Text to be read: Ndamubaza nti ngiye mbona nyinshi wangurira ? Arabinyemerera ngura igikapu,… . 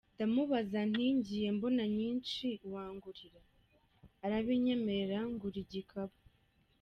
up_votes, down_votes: 2, 0